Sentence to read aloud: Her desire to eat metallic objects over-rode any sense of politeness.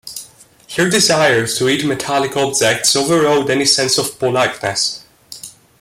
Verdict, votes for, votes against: accepted, 2, 0